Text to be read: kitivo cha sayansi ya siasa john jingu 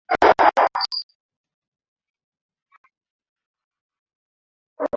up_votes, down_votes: 0, 2